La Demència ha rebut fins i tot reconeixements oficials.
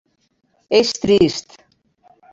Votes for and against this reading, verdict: 0, 3, rejected